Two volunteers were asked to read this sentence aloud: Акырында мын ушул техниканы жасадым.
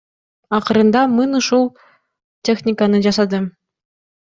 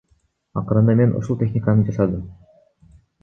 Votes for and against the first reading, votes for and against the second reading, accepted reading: 2, 0, 1, 2, first